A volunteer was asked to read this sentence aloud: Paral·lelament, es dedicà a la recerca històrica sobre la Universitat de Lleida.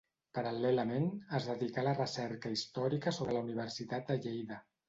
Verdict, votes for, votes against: accepted, 2, 0